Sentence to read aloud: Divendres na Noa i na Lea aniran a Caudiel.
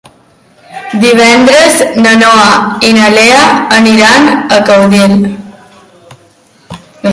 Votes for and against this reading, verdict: 3, 0, accepted